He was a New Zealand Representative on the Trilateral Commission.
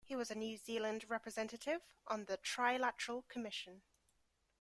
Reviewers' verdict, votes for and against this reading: accepted, 2, 0